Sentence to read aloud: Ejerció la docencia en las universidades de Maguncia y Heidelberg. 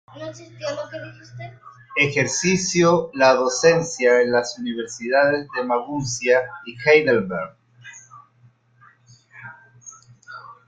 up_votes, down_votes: 0, 2